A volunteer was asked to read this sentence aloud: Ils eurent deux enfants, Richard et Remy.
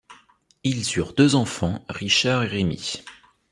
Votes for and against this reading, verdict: 2, 0, accepted